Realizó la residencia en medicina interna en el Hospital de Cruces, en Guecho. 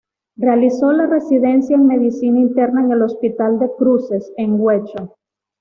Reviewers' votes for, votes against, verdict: 2, 1, accepted